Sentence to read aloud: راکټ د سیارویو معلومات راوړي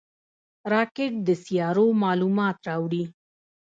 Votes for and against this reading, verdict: 1, 2, rejected